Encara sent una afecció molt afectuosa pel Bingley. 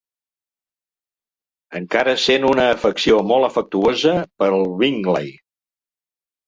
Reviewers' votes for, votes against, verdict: 2, 1, accepted